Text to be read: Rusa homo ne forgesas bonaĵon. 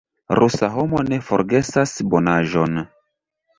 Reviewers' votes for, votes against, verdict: 2, 0, accepted